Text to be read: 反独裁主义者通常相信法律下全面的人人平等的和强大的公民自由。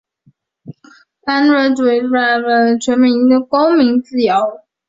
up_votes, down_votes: 2, 0